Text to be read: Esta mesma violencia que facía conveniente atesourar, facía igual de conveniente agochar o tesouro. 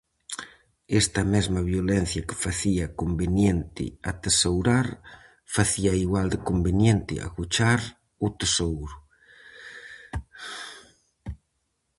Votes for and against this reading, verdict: 4, 0, accepted